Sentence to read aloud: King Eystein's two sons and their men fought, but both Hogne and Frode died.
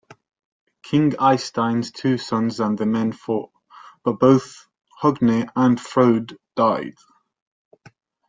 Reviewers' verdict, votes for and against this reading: accepted, 2, 0